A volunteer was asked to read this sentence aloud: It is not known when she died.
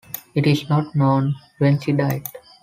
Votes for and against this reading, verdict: 3, 0, accepted